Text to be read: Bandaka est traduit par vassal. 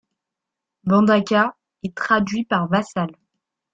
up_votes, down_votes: 3, 0